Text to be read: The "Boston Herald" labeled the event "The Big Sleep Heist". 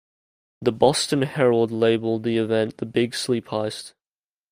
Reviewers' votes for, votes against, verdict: 2, 0, accepted